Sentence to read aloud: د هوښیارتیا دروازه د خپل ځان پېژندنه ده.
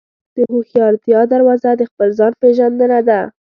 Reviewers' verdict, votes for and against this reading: accepted, 2, 0